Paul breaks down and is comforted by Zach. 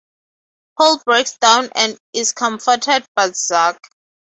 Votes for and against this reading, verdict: 4, 0, accepted